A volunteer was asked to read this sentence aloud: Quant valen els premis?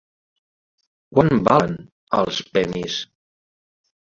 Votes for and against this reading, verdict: 0, 2, rejected